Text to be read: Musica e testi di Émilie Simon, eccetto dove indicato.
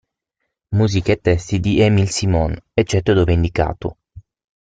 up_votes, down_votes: 6, 3